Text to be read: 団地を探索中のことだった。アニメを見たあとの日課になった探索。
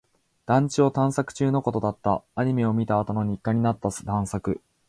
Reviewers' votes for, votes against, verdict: 4, 1, accepted